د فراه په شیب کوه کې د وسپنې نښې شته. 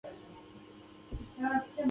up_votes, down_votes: 1, 2